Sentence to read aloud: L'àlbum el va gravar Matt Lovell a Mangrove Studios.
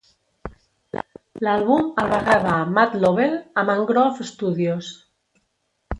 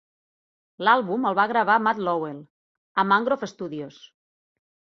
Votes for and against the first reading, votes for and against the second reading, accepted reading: 1, 2, 2, 0, second